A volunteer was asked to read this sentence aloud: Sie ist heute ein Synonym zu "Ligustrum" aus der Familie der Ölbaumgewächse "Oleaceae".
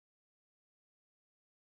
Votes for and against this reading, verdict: 0, 2, rejected